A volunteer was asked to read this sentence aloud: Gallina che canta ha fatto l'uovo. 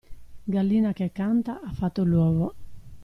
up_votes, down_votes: 2, 0